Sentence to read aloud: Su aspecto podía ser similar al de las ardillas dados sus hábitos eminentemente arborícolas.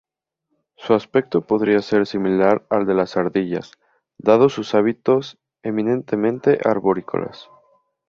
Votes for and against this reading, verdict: 0, 2, rejected